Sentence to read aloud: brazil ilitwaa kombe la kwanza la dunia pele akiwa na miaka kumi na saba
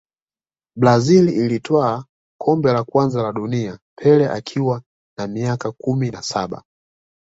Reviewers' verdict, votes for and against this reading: rejected, 1, 2